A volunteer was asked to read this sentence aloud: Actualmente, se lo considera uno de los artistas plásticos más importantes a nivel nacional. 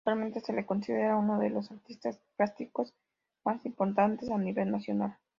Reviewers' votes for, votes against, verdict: 2, 0, accepted